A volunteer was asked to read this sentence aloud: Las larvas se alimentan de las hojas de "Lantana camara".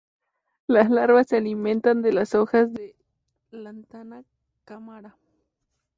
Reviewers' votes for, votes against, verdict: 2, 0, accepted